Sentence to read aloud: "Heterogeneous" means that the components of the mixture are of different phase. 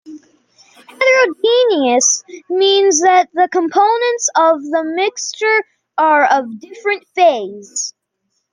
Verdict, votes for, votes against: accepted, 2, 0